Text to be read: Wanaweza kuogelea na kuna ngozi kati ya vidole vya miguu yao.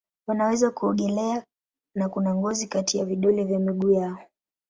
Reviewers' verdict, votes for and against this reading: rejected, 0, 2